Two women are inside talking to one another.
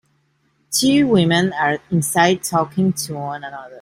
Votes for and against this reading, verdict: 2, 1, accepted